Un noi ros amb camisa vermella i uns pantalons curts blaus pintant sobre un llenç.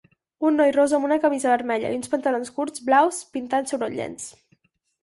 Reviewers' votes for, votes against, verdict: 2, 4, rejected